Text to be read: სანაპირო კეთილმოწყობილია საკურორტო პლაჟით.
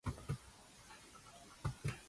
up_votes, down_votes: 2, 1